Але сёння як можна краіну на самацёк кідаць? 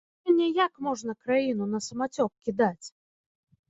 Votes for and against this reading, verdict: 0, 2, rejected